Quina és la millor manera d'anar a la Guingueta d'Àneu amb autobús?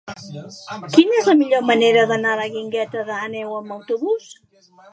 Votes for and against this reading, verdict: 1, 2, rejected